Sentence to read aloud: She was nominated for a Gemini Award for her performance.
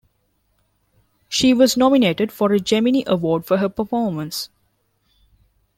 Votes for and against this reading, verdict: 0, 2, rejected